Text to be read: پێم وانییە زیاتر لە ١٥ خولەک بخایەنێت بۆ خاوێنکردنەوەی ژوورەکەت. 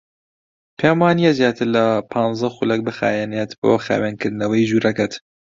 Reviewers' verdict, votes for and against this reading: rejected, 0, 2